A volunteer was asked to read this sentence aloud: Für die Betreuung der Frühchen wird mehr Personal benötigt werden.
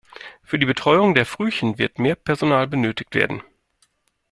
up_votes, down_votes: 2, 0